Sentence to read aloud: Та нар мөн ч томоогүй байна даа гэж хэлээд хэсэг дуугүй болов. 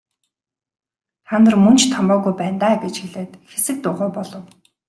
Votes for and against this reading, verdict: 2, 0, accepted